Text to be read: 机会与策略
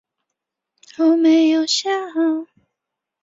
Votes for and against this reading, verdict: 0, 2, rejected